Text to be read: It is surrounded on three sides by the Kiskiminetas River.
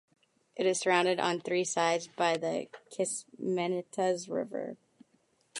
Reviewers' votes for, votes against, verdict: 1, 2, rejected